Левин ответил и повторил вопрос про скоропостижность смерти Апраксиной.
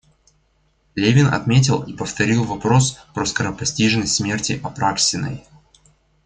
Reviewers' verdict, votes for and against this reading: rejected, 1, 2